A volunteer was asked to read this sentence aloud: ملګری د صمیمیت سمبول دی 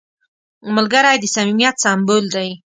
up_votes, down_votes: 2, 0